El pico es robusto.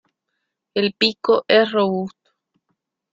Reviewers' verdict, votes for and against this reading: rejected, 0, 2